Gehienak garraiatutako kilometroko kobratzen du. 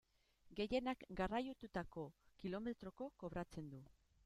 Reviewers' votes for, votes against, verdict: 1, 2, rejected